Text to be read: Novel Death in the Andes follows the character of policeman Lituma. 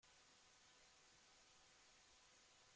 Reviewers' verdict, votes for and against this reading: rejected, 0, 2